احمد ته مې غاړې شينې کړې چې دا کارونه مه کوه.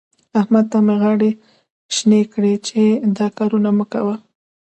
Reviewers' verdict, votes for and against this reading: rejected, 1, 2